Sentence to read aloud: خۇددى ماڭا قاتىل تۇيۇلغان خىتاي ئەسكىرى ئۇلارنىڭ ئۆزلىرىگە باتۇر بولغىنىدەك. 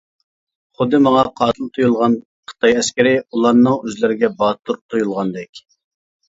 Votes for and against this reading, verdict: 0, 2, rejected